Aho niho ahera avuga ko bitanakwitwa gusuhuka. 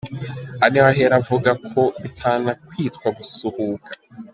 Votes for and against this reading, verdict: 1, 2, rejected